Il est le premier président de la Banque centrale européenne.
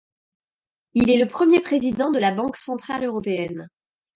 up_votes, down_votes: 2, 0